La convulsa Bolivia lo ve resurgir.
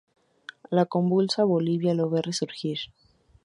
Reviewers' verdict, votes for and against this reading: accepted, 2, 0